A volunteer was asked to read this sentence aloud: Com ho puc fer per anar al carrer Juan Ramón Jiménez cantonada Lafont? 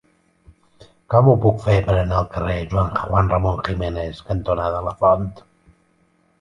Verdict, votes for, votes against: rejected, 0, 2